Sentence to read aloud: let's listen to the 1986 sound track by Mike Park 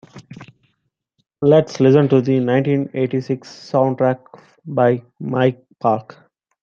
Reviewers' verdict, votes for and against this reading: rejected, 0, 2